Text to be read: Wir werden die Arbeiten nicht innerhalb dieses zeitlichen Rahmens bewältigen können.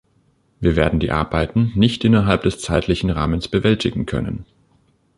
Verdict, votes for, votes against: rejected, 0, 2